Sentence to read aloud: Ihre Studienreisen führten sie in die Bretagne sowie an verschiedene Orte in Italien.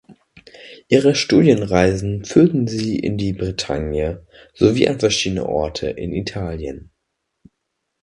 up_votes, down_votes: 2, 0